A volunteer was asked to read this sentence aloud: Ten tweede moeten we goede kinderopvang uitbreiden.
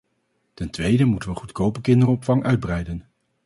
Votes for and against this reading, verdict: 2, 2, rejected